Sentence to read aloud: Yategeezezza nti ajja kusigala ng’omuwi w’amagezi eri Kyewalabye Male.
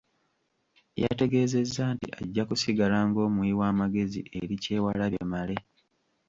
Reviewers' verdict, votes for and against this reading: accepted, 2, 1